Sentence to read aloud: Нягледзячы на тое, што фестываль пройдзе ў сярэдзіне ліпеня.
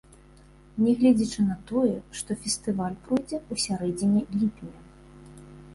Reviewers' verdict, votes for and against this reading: accepted, 2, 0